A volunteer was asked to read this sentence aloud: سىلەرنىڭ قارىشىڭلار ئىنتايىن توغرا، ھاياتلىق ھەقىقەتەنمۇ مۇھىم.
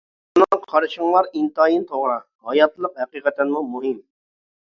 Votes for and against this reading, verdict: 1, 2, rejected